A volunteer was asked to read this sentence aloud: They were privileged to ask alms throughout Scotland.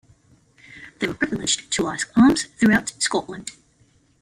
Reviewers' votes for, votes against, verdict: 0, 2, rejected